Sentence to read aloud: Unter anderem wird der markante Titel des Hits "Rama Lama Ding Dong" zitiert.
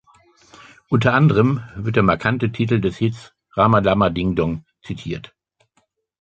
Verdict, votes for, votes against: rejected, 1, 2